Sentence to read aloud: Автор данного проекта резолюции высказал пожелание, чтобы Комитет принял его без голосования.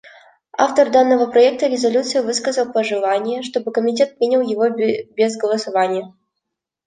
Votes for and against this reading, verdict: 1, 2, rejected